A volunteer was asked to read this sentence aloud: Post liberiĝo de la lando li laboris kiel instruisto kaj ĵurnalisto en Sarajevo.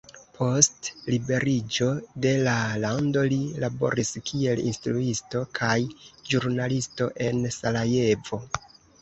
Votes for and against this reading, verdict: 2, 0, accepted